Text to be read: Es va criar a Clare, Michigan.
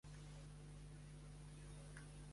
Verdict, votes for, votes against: rejected, 0, 3